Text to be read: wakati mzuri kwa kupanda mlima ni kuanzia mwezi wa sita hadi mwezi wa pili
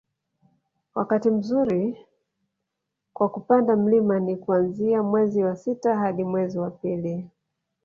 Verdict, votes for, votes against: rejected, 0, 2